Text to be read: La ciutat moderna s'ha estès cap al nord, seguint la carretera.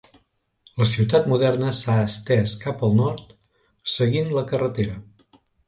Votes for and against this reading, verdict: 3, 0, accepted